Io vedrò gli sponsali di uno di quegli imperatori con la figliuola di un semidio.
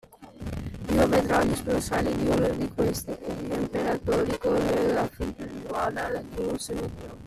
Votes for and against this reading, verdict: 0, 2, rejected